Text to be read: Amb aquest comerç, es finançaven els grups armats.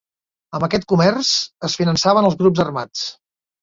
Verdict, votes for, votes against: accepted, 2, 0